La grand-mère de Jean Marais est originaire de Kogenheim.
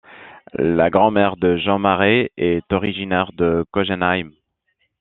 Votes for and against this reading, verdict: 2, 0, accepted